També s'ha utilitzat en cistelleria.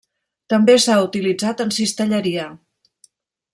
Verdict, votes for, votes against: accepted, 3, 0